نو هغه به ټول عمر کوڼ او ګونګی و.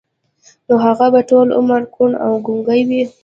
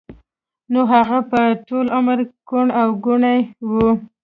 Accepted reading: first